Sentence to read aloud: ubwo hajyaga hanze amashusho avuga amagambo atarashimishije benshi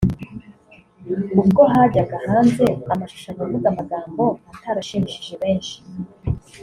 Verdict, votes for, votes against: accepted, 2, 0